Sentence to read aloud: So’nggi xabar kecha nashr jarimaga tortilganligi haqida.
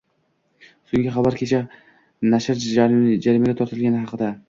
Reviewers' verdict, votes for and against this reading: rejected, 0, 2